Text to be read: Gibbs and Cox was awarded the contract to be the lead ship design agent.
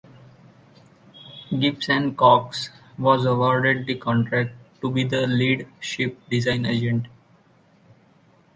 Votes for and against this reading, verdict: 2, 0, accepted